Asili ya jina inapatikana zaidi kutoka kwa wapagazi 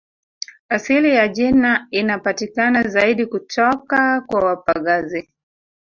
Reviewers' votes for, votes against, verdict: 1, 2, rejected